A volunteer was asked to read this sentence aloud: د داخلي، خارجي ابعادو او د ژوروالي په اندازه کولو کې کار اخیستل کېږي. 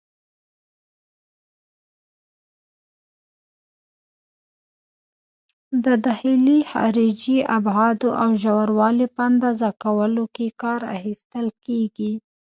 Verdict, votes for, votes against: rejected, 1, 2